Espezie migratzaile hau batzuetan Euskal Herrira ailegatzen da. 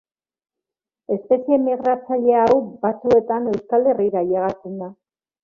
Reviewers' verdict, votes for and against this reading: accepted, 2, 0